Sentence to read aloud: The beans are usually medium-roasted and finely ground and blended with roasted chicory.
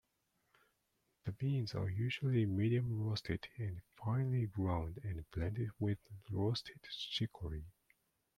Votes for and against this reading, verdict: 2, 0, accepted